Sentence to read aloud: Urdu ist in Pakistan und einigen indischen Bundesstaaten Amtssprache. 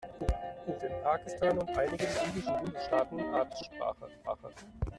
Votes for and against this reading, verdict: 0, 2, rejected